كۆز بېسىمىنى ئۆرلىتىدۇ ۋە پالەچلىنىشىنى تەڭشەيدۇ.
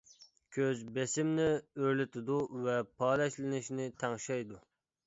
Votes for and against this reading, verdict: 1, 2, rejected